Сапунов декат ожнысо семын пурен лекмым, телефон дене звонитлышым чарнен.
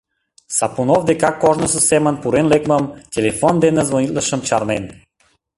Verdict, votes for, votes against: rejected, 0, 2